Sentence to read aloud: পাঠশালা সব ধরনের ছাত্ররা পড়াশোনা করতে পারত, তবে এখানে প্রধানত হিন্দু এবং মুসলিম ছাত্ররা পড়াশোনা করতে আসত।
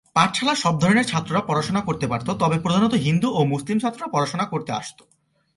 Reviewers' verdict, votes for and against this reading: accepted, 2, 0